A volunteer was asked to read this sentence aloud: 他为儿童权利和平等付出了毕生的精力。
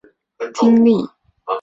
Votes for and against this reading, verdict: 0, 2, rejected